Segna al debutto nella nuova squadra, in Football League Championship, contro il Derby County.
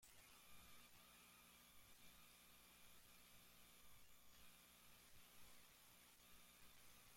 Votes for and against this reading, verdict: 0, 2, rejected